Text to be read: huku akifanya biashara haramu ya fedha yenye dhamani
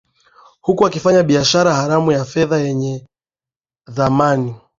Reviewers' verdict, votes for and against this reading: accepted, 2, 0